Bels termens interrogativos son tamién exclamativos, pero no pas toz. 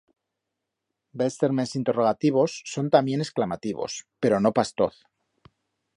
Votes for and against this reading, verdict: 2, 0, accepted